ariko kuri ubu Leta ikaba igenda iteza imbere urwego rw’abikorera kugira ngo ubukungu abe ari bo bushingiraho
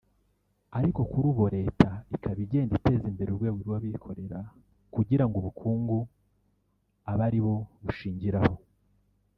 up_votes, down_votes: 0, 2